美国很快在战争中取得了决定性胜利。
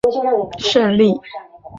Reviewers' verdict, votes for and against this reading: rejected, 0, 3